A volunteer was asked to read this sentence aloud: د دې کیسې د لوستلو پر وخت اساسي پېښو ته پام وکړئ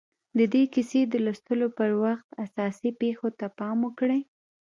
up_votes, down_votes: 2, 1